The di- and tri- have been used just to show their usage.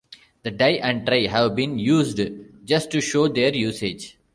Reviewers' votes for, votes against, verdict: 1, 2, rejected